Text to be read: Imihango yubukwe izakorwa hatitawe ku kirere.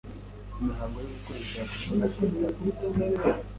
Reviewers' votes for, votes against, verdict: 0, 2, rejected